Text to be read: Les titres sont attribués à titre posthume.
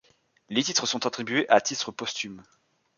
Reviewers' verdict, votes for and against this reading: accepted, 2, 0